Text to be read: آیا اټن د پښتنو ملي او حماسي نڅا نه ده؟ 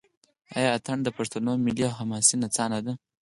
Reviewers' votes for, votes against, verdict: 2, 4, rejected